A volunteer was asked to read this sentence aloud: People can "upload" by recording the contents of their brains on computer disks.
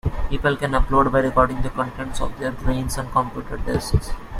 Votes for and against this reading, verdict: 2, 0, accepted